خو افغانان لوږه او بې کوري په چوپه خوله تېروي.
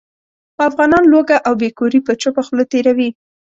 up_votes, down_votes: 2, 0